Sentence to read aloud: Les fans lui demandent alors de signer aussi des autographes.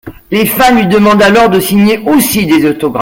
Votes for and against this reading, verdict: 1, 2, rejected